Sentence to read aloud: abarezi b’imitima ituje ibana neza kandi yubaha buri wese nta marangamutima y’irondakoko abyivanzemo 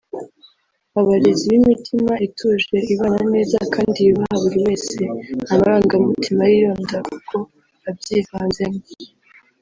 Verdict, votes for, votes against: rejected, 0, 2